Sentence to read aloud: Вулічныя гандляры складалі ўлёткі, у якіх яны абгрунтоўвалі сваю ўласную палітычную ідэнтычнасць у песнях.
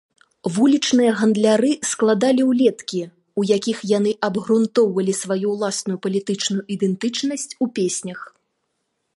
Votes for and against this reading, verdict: 0, 2, rejected